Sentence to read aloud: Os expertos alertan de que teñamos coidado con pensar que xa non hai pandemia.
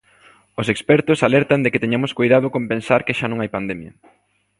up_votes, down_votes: 3, 0